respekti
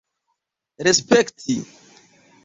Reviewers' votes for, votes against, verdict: 2, 0, accepted